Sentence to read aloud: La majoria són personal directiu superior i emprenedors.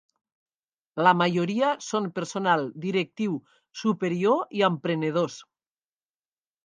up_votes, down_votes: 0, 2